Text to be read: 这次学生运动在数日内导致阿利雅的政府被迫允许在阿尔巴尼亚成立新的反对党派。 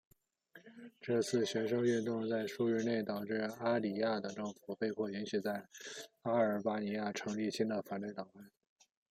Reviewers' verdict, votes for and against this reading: rejected, 1, 2